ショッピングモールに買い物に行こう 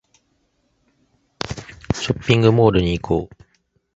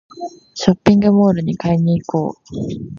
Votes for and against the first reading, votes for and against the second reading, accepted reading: 0, 2, 2, 1, second